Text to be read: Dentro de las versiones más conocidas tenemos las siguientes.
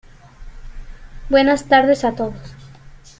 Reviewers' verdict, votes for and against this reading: rejected, 0, 3